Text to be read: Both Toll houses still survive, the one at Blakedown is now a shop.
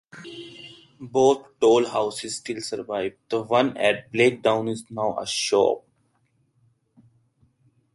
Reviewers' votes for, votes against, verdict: 0, 2, rejected